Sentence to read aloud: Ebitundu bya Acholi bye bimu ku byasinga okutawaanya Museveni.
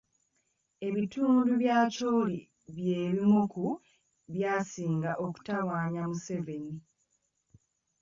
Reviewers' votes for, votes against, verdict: 2, 1, accepted